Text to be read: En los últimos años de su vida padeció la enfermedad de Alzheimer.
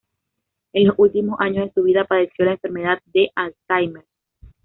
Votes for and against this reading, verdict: 2, 0, accepted